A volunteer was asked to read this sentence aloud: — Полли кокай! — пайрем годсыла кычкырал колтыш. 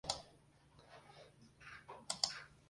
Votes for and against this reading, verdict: 0, 2, rejected